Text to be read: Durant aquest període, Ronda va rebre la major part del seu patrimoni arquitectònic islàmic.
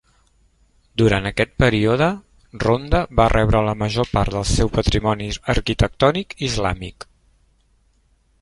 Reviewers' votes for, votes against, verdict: 0, 2, rejected